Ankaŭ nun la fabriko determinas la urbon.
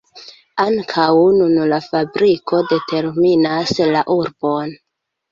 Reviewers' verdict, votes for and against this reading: accepted, 3, 2